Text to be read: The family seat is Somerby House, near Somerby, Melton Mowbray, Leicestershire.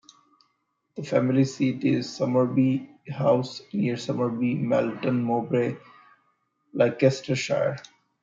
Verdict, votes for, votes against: rejected, 0, 2